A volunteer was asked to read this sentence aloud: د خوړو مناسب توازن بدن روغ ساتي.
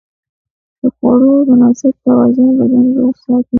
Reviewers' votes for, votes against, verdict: 1, 2, rejected